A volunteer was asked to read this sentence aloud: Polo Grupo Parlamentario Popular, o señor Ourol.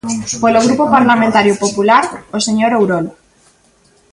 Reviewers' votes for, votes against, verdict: 0, 2, rejected